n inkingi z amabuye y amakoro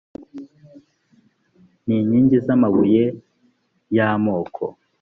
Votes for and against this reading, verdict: 0, 2, rejected